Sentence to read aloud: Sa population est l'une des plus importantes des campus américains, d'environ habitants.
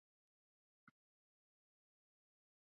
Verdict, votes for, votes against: rejected, 0, 2